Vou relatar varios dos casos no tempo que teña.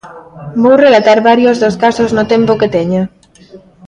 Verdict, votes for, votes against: rejected, 1, 2